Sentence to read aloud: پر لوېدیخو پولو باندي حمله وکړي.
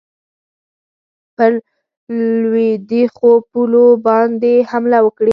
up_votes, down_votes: 0, 4